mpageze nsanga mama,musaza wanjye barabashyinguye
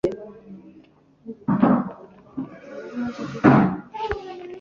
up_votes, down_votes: 0, 2